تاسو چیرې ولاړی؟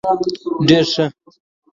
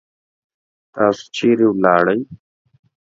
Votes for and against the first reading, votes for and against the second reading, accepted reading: 0, 2, 2, 0, second